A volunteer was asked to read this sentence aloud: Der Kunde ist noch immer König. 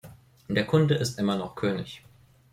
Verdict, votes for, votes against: rejected, 0, 2